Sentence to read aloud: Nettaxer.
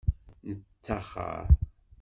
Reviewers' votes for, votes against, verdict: 2, 0, accepted